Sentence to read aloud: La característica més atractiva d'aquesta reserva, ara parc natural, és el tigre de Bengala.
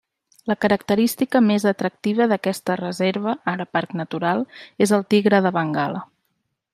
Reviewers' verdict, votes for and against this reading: accepted, 3, 0